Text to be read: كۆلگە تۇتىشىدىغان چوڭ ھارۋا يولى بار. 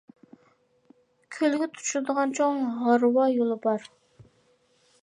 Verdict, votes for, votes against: accepted, 2, 0